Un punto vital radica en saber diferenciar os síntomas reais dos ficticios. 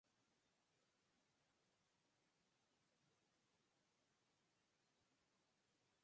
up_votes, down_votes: 2, 4